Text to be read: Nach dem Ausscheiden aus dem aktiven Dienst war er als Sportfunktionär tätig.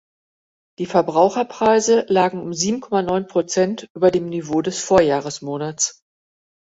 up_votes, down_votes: 0, 3